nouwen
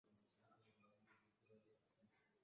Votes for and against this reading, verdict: 0, 2, rejected